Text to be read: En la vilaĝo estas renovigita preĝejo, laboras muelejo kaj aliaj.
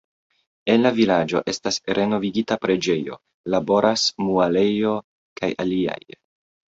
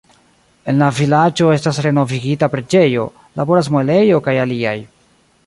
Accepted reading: second